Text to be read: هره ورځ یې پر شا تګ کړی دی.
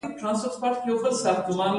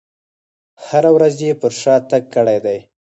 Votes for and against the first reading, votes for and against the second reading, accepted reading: 0, 2, 4, 0, second